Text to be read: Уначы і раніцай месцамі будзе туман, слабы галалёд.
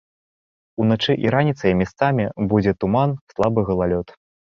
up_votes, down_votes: 0, 2